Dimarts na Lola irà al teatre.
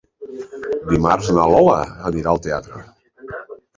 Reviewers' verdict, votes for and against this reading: rejected, 1, 2